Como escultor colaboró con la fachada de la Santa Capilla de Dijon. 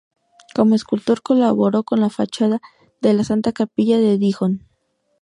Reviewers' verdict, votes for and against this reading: accepted, 2, 0